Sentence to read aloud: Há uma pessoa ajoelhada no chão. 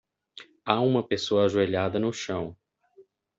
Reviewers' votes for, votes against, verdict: 2, 0, accepted